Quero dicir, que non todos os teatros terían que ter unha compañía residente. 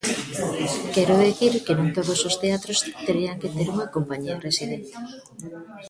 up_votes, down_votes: 0, 2